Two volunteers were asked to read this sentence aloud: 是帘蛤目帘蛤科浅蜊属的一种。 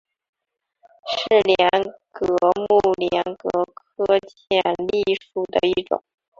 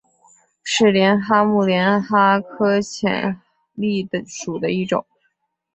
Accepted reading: second